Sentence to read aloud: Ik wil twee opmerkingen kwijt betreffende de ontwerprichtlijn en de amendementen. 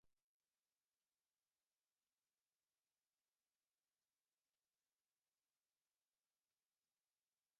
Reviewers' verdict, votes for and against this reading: rejected, 0, 2